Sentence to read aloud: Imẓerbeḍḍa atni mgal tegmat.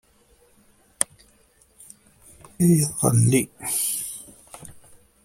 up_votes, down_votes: 1, 2